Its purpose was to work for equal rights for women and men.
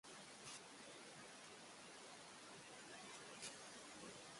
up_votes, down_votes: 0, 2